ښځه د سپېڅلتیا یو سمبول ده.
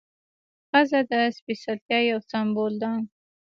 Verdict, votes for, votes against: accepted, 2, 0